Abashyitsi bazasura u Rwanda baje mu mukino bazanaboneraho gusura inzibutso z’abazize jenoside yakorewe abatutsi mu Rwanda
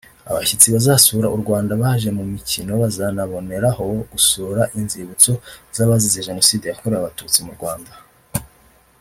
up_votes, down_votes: 0, 2